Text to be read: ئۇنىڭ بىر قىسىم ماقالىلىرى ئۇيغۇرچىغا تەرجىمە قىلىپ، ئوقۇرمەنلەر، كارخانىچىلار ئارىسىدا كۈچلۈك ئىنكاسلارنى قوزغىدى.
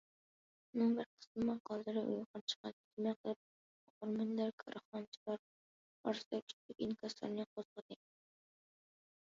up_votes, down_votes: 0, 2